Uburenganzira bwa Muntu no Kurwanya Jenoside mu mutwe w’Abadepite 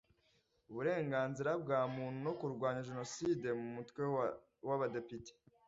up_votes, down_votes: 1, 2